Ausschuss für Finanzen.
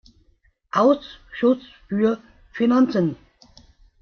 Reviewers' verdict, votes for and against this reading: rejected, 1, 2